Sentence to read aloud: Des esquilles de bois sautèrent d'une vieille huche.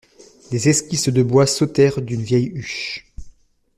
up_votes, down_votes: 0, 2